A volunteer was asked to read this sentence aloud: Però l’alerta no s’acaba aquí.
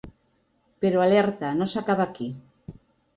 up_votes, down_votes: 2, 0